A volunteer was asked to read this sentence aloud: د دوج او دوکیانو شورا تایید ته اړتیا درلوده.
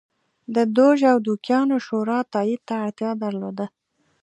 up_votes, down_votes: 2, 0